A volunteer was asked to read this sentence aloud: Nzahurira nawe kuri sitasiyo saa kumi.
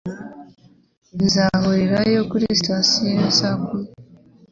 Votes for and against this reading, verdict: 1, 2, rejected